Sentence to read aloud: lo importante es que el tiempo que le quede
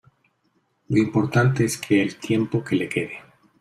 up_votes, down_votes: 2, 0